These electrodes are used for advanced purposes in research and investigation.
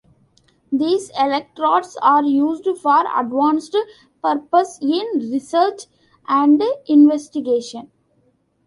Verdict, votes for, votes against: accepted, 2, 1